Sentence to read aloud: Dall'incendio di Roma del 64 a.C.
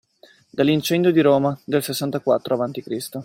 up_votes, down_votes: 0, 2